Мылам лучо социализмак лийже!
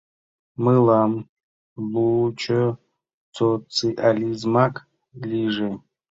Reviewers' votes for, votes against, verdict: 1, 2, rejected